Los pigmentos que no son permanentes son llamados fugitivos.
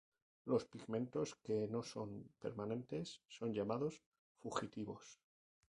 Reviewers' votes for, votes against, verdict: 0, 2, rejected